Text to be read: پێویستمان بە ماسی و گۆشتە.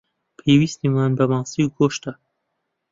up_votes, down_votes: 0, 2